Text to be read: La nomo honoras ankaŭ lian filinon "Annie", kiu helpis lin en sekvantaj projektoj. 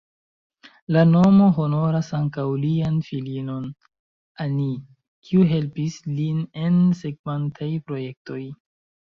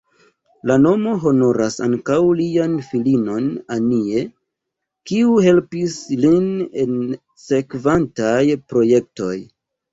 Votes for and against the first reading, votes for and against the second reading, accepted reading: 0, 2, 2, 1, second